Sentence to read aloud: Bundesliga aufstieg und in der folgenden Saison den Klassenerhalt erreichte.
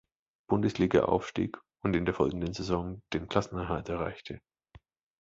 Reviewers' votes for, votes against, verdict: 2, 0, accepted